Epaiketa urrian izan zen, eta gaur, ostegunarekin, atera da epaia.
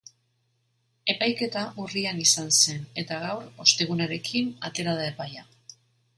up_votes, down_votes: 3, 0